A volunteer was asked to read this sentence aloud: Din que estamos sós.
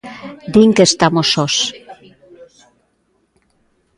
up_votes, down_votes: 2, 0